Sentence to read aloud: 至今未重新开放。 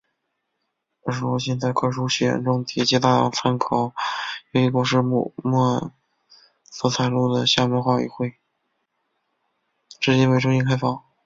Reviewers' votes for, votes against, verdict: 0, 2, rejected